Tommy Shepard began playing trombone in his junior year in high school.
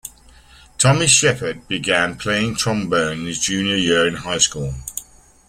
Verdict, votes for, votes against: accepted, 3, 0